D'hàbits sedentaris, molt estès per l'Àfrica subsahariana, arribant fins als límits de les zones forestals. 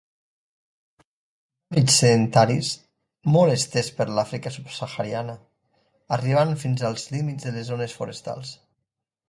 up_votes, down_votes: 0, 2